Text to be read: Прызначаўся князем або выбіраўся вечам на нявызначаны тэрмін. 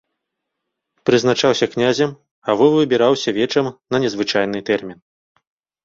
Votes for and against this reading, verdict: 0, 2, rejected